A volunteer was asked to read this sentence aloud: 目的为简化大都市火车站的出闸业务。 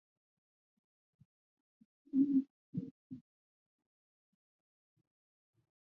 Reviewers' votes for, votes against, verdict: 0, 3, rejected